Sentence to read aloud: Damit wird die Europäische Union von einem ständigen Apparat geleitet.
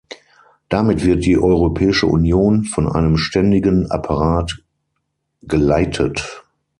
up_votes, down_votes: 3, 6